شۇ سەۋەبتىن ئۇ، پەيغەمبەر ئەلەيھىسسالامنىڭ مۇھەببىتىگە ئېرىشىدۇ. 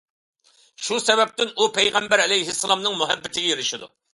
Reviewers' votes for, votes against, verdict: 2, 0, accepted